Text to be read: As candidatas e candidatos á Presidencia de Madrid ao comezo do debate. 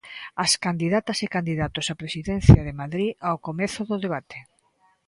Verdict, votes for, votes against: accepted, 2, 0